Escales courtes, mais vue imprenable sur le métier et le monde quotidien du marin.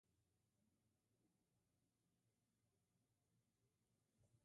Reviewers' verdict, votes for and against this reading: rejected, 0, 2